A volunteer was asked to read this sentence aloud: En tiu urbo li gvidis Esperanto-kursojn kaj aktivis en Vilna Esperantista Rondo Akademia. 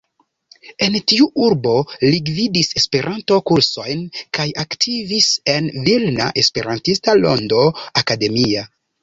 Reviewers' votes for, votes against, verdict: 2, 0, accepted